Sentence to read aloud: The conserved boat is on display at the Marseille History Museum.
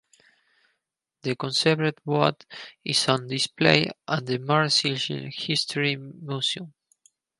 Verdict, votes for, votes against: rejected, 0, 4